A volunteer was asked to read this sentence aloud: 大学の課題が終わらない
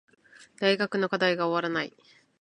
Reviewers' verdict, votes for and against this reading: accepted, 2, 0